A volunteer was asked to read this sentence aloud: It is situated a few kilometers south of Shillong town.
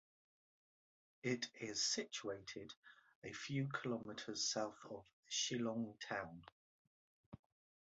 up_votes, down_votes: 2, 0